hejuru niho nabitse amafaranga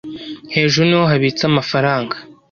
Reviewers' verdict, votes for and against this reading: rejected, 1, 2